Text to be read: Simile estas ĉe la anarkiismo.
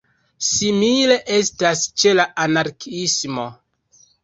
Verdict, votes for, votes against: rejected, 0, 2